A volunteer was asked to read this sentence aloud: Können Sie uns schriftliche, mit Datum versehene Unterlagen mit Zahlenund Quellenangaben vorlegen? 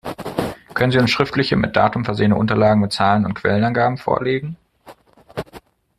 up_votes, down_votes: 0, 2